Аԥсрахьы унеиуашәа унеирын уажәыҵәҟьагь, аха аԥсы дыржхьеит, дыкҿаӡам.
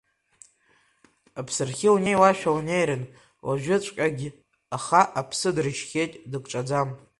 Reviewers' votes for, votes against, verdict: 3, 1, accepted